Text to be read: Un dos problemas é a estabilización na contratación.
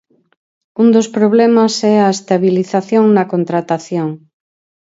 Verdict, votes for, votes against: accepted, 4, 0